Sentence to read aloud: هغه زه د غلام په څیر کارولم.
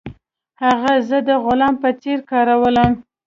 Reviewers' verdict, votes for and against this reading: accepted, 2, 0